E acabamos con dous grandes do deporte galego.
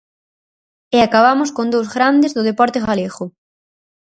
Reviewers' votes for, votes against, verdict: 4, 0, accepted